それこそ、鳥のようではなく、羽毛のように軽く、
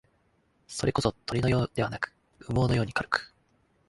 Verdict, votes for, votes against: accepted, 2, 0